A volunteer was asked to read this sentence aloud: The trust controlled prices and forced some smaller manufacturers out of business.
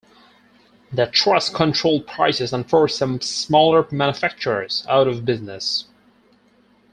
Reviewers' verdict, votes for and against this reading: accepted, 4, 0